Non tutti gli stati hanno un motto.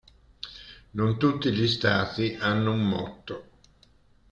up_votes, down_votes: 2, 0